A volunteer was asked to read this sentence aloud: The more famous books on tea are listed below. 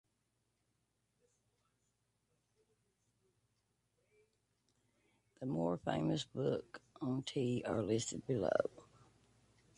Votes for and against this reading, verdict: 0, 2, rejected